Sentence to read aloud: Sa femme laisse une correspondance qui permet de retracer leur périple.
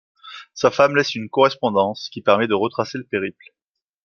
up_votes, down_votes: 1, 2